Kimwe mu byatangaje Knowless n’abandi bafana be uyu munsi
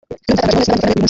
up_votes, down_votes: 1, 2